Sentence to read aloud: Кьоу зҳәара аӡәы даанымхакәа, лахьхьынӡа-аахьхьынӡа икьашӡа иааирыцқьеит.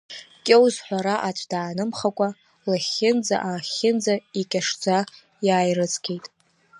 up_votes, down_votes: 0, 2